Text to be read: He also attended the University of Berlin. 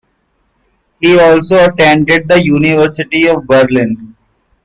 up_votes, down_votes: 2, 1